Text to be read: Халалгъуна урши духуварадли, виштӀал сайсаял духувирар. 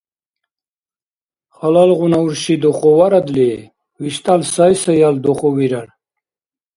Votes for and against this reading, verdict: 2, 0, accepted